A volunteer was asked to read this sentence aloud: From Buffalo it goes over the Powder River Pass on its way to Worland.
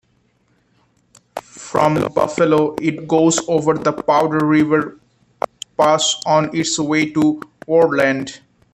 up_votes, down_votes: 0, 3